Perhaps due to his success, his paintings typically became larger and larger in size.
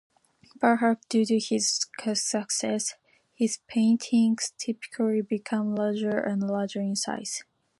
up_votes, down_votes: 2, 0